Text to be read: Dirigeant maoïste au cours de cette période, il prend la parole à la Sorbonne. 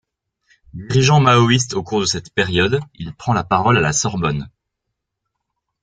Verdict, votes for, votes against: accepted, 3, 1